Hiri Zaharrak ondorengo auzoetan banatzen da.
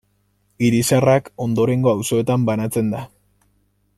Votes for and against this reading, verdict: 2, 0, accepted